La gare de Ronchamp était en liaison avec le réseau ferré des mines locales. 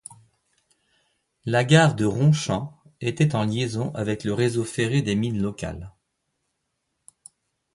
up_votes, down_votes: 2, 0